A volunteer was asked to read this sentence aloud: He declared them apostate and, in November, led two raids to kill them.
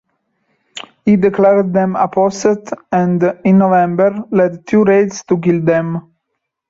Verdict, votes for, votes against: accepted, 2, 0